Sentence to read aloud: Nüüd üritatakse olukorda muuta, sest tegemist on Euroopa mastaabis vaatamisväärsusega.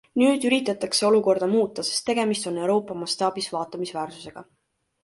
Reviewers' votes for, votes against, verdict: 2, 0, accepted